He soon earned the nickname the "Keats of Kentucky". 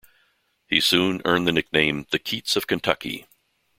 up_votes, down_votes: 2, 0